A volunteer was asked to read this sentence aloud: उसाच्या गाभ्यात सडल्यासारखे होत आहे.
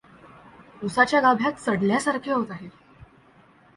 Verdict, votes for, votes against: accepted, 2, 0